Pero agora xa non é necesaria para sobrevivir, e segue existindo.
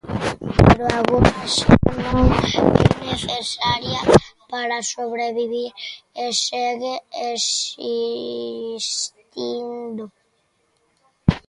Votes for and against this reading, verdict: 0, 3, rejected